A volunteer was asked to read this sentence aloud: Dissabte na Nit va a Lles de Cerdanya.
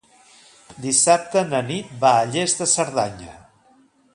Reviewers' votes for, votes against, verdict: 2, 0, accepted